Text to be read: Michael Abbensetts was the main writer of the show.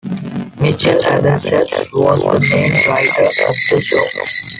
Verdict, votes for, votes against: rejected, 1, 2